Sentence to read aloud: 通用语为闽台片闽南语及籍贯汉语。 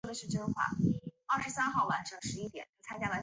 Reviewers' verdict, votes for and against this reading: rejected, 2, 3